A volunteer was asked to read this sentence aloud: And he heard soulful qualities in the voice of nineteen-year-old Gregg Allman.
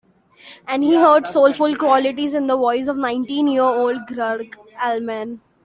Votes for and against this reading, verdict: 2, 0, accepted